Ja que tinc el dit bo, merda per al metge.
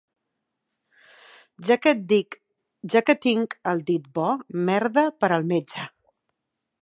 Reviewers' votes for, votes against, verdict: 1, 2, rejected